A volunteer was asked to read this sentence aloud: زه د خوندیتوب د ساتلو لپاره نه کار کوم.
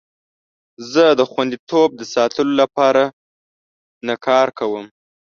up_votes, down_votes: 2, 0